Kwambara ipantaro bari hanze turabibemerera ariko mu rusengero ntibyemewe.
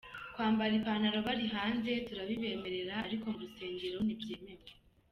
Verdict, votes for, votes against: accepted, 2, 0